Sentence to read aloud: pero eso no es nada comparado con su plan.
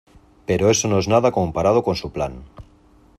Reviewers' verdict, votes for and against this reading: accepted, 2, 0